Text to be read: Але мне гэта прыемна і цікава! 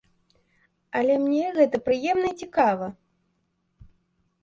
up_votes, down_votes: 1, 2